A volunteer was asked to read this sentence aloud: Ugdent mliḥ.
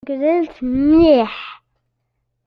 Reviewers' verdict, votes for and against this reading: rejected, 1, 2